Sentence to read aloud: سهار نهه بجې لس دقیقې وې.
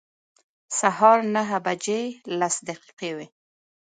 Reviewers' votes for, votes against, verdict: 2, 0, accepted